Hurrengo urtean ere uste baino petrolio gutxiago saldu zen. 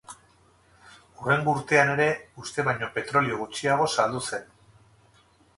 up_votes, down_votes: 0, 2